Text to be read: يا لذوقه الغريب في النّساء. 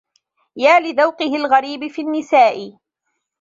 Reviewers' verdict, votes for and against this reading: accepted, 2, 0